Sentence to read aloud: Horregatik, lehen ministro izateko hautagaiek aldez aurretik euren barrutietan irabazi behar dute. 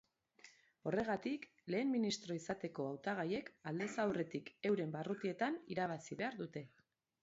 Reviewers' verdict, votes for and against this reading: accepted, 2, 1